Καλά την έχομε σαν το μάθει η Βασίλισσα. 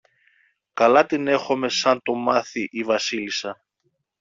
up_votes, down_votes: 2, 0